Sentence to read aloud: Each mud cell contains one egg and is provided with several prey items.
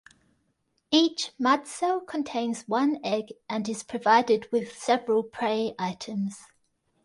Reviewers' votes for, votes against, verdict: 1, 2, rejected